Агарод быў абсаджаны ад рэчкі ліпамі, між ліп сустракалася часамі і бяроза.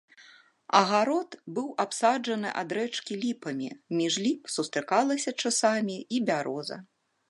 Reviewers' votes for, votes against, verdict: 2, 0, accepted